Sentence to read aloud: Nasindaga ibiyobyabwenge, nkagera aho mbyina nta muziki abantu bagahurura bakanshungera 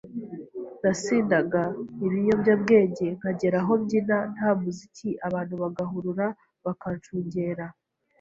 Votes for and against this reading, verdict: 2, 0, accepted